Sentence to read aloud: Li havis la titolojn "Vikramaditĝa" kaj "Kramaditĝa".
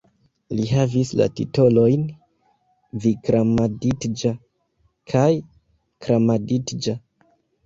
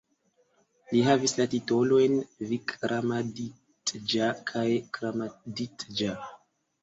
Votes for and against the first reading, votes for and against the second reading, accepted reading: 0, 2, 2, 1, second